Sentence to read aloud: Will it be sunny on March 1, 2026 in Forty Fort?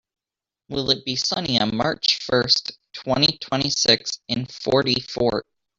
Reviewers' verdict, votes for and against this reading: rejected, 0, 2